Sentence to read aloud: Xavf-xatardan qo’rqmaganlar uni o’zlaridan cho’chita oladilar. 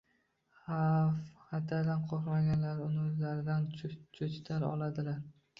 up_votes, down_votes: 0, 2